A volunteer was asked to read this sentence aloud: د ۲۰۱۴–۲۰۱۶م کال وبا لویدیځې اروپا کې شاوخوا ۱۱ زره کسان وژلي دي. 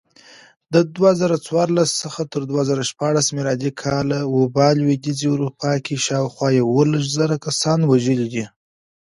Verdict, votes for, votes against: rejected, 0, 2